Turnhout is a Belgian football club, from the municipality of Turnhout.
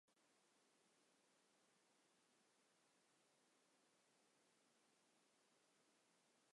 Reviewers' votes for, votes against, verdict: 0, 2, rejected